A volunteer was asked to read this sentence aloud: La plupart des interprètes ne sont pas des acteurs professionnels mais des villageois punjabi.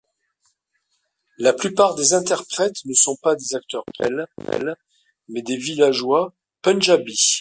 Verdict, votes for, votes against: rejected, 0, 2